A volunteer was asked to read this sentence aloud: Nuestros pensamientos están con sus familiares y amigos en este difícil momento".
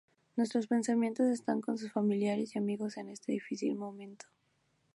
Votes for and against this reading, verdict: 2, 0, accepted